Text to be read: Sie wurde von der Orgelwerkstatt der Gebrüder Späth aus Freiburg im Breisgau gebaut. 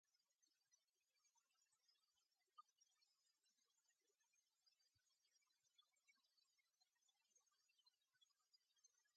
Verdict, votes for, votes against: rejected, 0, 2